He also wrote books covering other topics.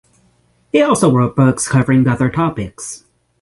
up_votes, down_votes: 6, 0